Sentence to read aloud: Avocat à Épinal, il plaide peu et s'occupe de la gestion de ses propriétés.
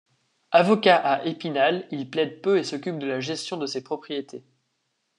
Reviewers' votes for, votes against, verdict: 2, 0, accepted